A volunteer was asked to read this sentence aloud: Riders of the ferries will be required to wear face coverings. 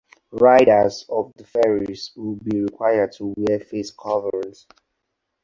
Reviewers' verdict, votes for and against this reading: accepted, 4, 0